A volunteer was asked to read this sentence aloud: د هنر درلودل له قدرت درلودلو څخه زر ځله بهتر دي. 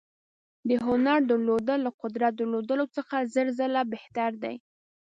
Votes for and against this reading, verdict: 1, 2, rejected